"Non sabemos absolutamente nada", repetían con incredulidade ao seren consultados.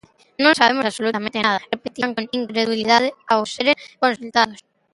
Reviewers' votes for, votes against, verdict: 0, 2, rejected